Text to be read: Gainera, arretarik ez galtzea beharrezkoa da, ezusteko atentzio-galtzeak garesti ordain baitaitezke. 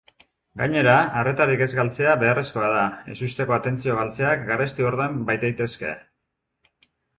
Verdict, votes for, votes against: accepted, 4, 0